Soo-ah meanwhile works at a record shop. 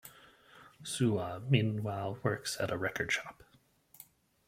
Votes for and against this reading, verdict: 2, 0, accepted